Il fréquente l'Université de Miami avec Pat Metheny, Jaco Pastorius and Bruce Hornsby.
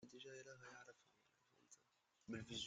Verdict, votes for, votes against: rejected, 0, 2